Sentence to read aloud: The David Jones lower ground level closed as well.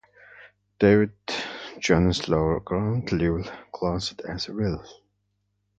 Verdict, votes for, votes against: rejected, 0, 2